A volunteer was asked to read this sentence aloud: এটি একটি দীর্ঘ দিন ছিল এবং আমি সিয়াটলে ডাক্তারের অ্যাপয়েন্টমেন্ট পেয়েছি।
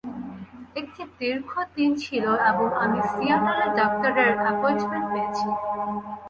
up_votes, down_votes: 0, 2